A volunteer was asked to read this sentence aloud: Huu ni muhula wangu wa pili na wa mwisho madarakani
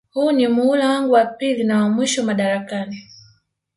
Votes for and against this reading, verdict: 1, 2, rejected